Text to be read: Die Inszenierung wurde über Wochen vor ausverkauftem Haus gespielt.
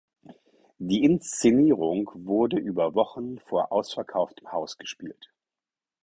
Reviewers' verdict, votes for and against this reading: accepted, 4, 0